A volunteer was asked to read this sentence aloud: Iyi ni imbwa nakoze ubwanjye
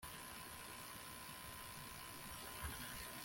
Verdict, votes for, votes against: rejected, 1, 2